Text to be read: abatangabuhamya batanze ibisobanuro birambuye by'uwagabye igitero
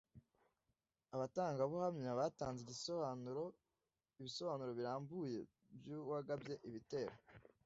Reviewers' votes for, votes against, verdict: 1, 2, rejected